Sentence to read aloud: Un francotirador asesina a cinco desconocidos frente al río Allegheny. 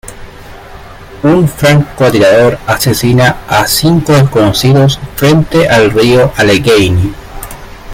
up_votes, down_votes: 2, 0